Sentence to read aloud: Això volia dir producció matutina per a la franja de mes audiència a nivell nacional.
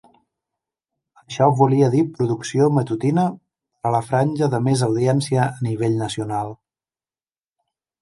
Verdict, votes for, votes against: accepted, 2, 0